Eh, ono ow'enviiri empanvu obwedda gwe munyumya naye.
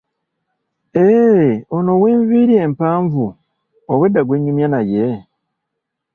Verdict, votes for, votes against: rejected, 1, 2